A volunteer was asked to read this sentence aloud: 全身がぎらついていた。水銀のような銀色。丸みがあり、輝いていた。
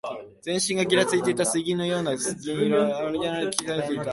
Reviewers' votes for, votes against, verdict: 3, 4, rejected